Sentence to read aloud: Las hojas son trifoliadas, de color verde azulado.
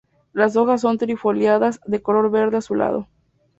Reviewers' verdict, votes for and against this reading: accepted, 2, 0